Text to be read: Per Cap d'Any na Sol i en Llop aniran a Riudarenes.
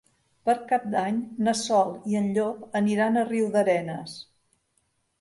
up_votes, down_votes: 2, 0